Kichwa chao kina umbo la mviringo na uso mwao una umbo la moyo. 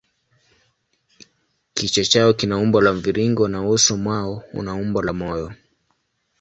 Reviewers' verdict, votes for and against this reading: accepted, 2, 0